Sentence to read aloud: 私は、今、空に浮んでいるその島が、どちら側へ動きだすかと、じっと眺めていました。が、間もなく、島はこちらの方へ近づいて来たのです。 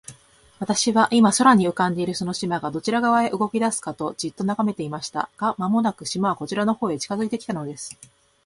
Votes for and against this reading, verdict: 2, 0, accepted